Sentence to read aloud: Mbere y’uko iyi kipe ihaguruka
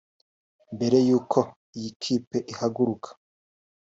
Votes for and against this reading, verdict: 2, 0, accepted